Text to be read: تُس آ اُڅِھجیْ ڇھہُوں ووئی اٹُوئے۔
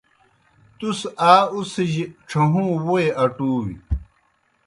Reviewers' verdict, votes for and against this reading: accepted, 2, 0